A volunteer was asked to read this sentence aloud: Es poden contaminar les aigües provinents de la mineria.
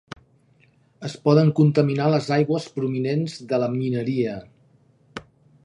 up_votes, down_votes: 2, 0